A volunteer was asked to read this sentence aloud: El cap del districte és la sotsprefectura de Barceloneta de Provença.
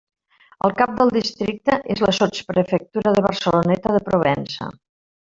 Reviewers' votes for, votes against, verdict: 1, 2, rejected